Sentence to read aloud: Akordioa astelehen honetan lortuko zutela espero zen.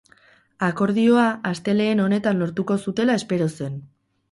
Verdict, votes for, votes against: rejected, 0, 2